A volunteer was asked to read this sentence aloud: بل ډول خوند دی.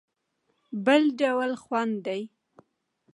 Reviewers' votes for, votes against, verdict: 2, 0, accepted